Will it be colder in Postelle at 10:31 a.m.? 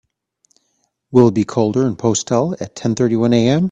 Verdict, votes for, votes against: rejected, 0, 2